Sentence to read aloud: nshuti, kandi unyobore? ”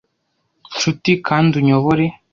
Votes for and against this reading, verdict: 2, 0, accepted